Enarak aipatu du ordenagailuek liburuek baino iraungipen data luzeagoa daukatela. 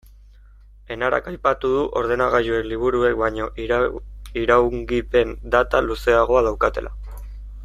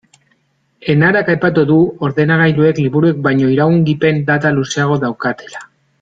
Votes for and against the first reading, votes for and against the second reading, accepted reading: 1, 2, 2, 0, second